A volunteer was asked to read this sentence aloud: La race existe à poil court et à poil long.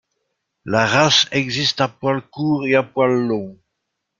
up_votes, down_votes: 2, 0